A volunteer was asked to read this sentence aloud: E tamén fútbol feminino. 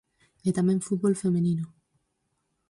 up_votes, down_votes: 0, 4